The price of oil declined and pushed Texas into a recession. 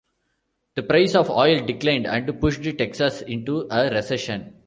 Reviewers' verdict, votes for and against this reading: rejected, 1, 2